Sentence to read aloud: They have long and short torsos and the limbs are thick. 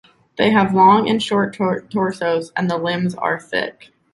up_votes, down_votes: 1, 2